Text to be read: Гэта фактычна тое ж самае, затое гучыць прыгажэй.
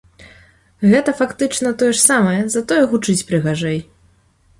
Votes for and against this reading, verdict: 5, 0, accepted